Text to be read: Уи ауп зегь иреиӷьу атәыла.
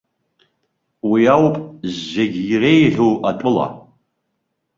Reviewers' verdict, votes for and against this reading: accepted, 2, 0